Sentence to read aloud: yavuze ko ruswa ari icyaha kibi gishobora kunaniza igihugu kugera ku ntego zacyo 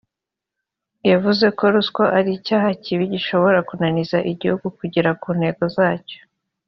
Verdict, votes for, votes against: accepted, 3, 0